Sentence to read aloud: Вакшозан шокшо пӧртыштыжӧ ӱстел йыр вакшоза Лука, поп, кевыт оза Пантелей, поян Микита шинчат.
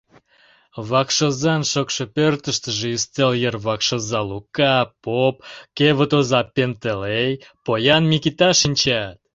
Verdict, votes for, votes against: rejected, 0, 2